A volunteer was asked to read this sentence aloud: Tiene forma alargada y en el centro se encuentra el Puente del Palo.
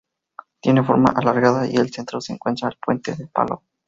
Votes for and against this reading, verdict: 0, 4, rejected